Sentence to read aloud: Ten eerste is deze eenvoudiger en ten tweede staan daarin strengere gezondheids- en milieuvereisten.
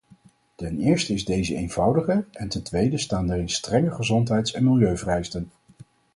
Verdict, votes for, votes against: rejected, 2, 2